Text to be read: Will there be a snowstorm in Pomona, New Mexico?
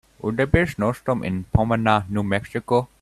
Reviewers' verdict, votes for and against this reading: accepted, 3, 0